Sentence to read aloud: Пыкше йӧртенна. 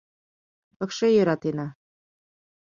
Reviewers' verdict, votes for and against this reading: rejected, 1, 2